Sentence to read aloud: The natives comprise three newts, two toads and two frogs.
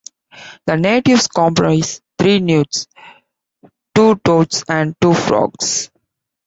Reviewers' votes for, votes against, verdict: 2, 0, accepted